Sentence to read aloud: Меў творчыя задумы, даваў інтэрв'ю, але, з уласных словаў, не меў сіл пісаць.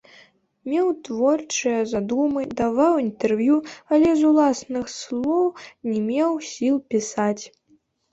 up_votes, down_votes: 1, 2